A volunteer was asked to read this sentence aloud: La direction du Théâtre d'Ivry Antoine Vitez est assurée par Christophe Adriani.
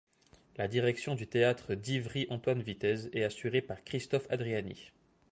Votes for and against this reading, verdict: 2, 0, accepted